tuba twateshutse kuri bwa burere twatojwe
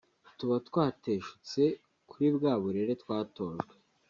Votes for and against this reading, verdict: 3, 0, accepted